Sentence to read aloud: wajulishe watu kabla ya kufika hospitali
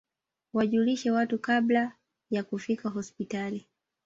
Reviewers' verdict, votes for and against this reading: rejected, 1, 2